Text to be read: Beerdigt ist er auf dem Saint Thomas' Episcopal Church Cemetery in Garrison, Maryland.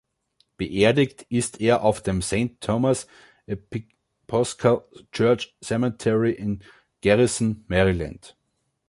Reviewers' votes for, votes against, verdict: 0, 2, rejected